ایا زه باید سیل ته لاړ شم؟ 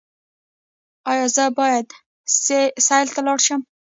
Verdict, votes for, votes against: rejected, 0, 2